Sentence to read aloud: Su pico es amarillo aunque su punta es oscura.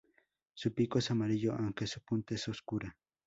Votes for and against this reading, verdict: 0, 2, rejected